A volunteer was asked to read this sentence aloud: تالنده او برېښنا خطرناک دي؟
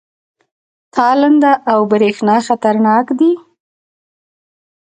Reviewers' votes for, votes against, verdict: 2, 0, accepted